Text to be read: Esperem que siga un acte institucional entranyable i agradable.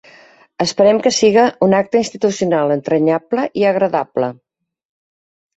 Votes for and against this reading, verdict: 4, 0, accepted